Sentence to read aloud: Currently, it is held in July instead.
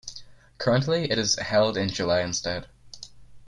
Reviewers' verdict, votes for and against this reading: accepted, 2, 0